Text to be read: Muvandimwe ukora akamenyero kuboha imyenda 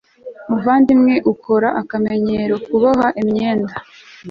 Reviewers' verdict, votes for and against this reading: accepted, 2, 0